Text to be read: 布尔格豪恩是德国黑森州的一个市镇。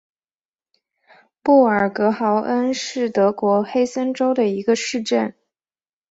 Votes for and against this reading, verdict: 4, 0, accepted